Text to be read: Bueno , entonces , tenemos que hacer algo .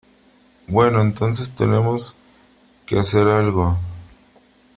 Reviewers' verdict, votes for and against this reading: accepted, 3, 0